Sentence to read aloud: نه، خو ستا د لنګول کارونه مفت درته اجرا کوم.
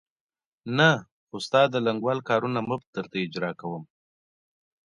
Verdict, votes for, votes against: accepted, 2, 0